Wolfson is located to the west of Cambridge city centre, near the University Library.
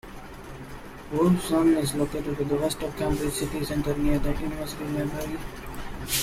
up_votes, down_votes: 0, 2